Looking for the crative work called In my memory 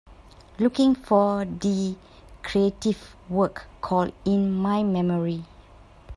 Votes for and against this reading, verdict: 2, 0, accepted